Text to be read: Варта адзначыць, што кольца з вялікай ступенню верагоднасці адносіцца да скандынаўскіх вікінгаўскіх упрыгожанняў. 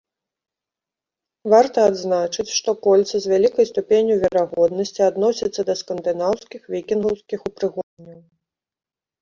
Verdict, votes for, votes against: rejected, 0, 2